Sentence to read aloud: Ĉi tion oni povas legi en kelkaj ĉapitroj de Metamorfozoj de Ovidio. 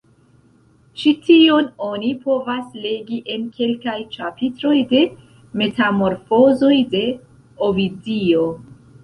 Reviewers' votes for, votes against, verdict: 2, 1, accepted